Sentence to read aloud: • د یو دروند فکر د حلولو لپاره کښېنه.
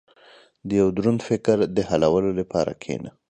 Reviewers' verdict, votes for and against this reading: accepted, 4, 0